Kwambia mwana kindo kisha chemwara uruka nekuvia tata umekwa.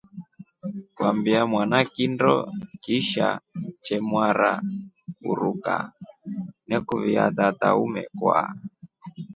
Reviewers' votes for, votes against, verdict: 4, 0, accepted